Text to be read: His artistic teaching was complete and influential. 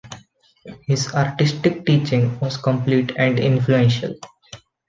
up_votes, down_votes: 2, 0